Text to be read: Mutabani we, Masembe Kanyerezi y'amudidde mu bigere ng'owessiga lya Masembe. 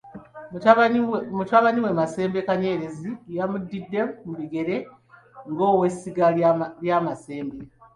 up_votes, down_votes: 2, 0